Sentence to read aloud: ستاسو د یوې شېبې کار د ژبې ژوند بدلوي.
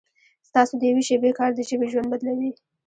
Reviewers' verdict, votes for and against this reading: rejected, 1, 2